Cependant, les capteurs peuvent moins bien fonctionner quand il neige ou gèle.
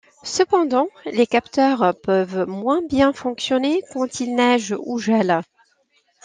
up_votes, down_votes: 2, 0